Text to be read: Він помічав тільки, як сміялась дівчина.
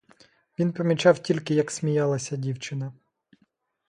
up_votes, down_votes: 1, 2